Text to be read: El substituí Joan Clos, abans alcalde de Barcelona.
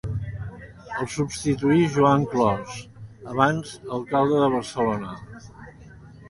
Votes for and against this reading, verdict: 2, 0, accepted